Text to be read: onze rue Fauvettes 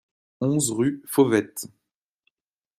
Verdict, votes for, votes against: accepted, 2, 0